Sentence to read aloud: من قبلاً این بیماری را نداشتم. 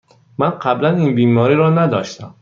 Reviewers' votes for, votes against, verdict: 2, 0, accepted